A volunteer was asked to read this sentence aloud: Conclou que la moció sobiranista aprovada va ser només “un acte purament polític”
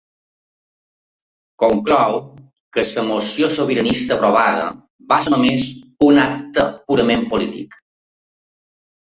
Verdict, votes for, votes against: rejected, 1, 2